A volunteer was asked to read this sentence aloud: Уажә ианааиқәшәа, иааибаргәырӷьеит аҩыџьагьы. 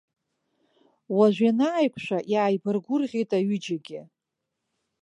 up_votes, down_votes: 3, 0